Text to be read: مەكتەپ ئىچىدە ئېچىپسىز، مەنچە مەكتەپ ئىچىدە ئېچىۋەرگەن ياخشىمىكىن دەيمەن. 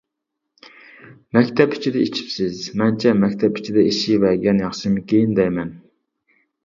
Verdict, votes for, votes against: rejected, 0, 2